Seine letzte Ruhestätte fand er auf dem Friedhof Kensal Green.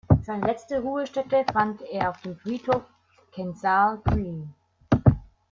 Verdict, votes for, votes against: rejected, 1, 2